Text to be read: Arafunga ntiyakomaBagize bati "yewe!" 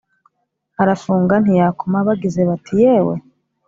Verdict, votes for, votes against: accepted, 4, 0